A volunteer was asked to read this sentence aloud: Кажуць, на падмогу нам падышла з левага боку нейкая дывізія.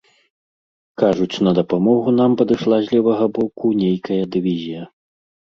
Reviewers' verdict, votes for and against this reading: rejected, 1, 2